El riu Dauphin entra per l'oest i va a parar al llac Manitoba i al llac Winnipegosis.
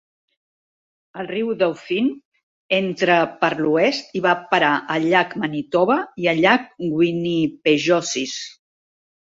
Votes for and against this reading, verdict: 0, 2, rejected